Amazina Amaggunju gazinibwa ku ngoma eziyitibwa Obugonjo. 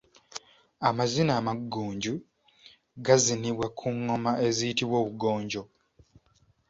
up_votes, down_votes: 2, 0